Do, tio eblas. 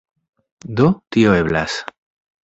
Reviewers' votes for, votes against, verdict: 2, 0, accepted